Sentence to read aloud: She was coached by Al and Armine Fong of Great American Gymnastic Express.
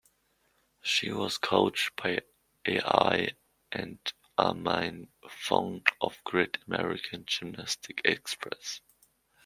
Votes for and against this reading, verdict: 2, 0, accepted